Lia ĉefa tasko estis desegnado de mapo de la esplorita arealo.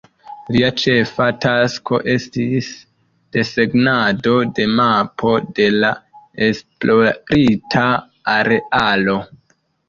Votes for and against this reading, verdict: 2, 1, accepted